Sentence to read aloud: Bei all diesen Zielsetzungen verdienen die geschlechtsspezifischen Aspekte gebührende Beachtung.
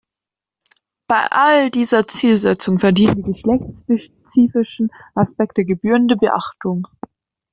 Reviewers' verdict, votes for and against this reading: rejected, 0, 2